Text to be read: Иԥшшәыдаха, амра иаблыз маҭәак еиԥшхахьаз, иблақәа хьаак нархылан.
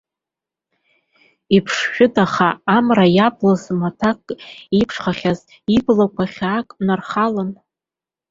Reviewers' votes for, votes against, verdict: 2, 1, accepted